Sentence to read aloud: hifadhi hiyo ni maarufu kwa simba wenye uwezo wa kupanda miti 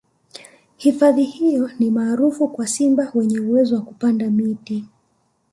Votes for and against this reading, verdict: 1, 2, rejected